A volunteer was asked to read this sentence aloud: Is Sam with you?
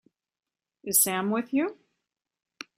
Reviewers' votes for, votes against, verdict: 3, 0, accepted